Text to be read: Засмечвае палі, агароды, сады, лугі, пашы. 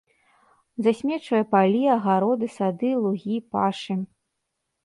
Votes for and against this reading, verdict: 3, 0, accepted